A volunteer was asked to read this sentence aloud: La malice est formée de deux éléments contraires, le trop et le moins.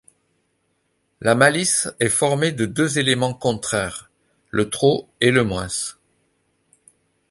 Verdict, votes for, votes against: accepted, 2, 0